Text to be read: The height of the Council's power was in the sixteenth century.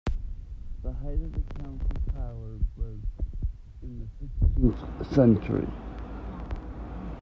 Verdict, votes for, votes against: rejected, 0, 2